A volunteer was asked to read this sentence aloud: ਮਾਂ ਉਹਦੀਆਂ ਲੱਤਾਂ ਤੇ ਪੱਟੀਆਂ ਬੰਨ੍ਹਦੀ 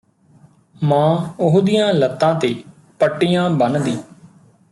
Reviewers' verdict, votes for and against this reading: accepted, 2, 0